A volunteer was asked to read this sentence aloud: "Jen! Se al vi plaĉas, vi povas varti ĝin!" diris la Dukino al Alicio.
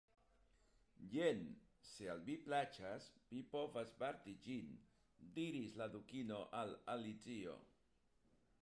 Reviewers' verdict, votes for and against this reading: rejected, 0, 2